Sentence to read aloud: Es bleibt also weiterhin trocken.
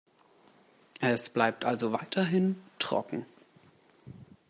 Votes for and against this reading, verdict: 1, 2, rejected